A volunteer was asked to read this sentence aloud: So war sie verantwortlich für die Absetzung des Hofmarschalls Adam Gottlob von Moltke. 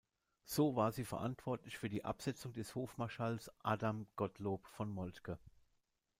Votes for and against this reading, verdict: 0, 2, rejected